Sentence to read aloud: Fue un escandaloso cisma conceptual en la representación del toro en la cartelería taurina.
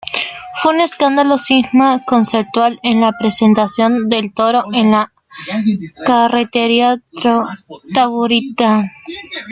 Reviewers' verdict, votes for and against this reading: rejected, 0, 2